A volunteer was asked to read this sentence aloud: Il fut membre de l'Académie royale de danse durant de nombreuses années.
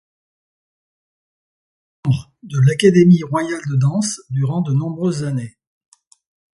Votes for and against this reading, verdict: 2, 0, accepted